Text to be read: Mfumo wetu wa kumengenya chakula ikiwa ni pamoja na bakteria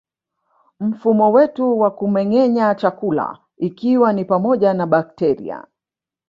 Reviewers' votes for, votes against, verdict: 3, 0, accepted